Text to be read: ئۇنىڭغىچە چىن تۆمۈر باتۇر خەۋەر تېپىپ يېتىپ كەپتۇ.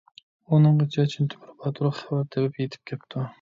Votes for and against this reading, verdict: 1, 2, rejected